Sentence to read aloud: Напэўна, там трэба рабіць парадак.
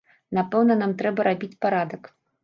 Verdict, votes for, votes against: accepted, 2, 1